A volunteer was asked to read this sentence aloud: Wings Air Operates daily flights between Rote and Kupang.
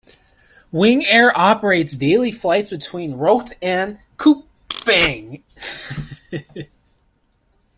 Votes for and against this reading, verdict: 2, 1, accepted